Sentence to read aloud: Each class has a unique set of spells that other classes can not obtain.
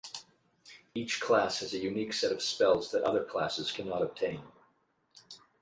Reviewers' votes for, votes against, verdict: 8, 0, accepted